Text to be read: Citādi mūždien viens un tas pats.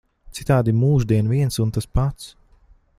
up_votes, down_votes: 2, 0